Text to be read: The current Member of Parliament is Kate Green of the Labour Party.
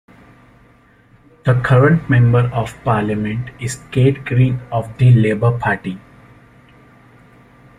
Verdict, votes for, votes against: accepted, 2, 0